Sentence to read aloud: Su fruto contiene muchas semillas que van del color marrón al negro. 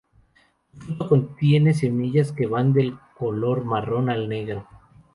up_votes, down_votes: 0, 2